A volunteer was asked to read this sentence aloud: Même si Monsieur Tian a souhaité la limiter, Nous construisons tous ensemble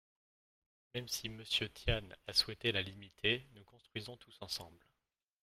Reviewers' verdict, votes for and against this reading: rejected, 1, 2